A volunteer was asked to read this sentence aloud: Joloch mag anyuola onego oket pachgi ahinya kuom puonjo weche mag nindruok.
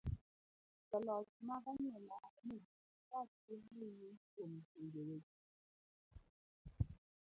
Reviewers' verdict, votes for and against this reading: rejected, 0, 2